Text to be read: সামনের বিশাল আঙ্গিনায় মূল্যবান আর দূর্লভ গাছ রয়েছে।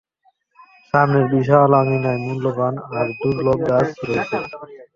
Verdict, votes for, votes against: accepted, 2, 1